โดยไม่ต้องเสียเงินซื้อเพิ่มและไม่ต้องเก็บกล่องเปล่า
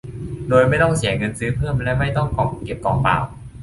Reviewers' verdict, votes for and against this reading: rejected, 0, 2